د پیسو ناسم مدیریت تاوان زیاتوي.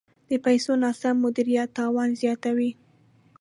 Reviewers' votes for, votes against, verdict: 2, 0, accepted